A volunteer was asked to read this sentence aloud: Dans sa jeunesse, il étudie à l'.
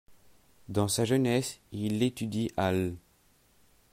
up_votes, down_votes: 2, 0